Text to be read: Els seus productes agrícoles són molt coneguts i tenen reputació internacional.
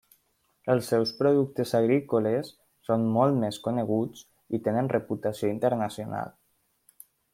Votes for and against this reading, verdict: 0, 2, rejected